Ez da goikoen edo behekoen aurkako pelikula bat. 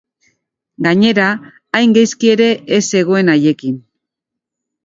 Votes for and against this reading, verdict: 0, 2, rejected